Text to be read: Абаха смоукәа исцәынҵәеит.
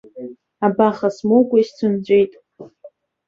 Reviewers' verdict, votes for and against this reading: rejected, 0, 2